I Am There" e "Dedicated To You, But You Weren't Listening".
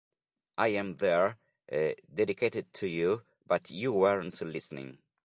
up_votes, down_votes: 2, 0